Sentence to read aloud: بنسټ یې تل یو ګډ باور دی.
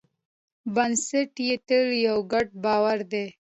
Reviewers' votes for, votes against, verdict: 2, 0, accepted